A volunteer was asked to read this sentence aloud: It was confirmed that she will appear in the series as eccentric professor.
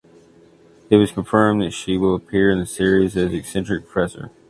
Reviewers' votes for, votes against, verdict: 2, 0, accepted